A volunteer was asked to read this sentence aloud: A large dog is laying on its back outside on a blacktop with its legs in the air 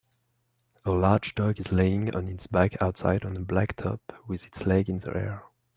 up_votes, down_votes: 2, 1